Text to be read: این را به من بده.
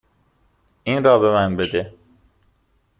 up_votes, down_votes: 2, 0